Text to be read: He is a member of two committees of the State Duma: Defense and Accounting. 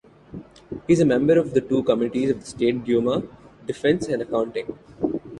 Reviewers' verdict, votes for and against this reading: rejected, 0, 2